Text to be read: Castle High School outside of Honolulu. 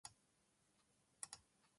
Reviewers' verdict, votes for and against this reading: rejected, 0, 6